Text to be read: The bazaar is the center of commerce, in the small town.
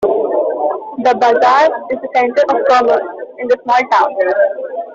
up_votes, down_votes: 1, 2